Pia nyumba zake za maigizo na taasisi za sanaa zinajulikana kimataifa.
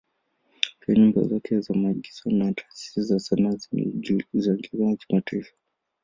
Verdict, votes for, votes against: rejected, 0, 2